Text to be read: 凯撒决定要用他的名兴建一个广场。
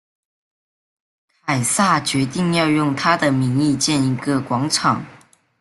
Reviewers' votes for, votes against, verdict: 0, 2, rejected